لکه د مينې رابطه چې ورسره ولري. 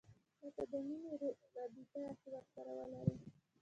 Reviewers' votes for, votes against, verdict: 1, 2, rejected